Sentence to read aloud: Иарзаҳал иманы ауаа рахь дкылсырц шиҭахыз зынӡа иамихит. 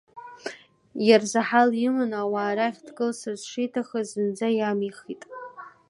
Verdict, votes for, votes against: accepted, 2, 1